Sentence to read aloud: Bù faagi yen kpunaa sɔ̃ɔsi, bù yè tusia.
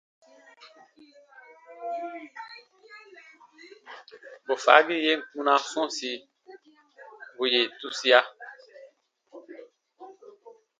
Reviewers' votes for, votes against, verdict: 2, 0, accepted